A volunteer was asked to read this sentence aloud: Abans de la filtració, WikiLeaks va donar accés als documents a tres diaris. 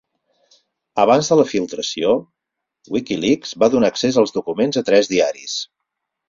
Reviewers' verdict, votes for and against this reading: accepted, 6, 0